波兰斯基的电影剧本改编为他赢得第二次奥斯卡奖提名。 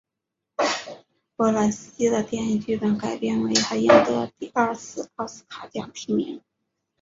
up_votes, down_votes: 2, 0